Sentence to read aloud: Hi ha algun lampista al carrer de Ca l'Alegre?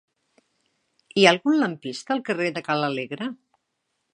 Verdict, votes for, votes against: accepted, 4, 0